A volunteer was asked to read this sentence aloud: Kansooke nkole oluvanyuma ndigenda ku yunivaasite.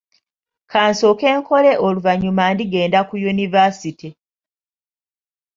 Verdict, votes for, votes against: accepted, 2, 0